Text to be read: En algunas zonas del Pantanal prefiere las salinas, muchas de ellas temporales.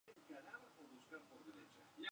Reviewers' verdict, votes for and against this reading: rejected, 0, 2